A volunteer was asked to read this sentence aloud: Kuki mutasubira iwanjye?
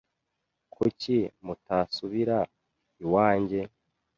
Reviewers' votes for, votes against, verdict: 2, 0, accepted